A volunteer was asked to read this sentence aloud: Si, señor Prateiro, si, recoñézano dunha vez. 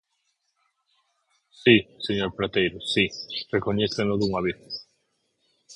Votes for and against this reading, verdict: 4, 6, rejected